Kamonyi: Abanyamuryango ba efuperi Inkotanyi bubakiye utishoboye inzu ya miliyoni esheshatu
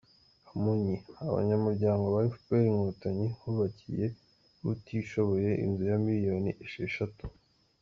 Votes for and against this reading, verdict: 2, 0, accepted